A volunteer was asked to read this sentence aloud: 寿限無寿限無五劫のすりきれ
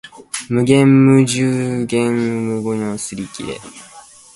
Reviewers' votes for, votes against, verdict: 0, 2, rejected